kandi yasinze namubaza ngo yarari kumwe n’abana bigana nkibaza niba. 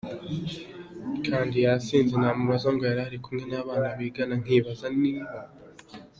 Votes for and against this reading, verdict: 0, 2, rejected